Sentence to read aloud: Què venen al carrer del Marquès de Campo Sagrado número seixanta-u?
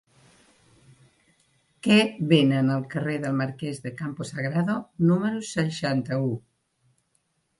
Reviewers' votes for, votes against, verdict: 1, 2, rejected